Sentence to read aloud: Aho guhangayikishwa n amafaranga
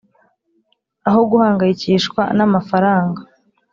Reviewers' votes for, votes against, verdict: 3, 0, accepted